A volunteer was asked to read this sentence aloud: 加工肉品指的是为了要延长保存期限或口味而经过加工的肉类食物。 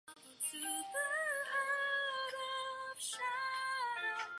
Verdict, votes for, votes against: rejected, 0, 2